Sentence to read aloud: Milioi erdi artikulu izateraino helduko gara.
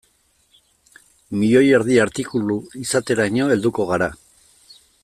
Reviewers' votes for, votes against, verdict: 2, 0, accepted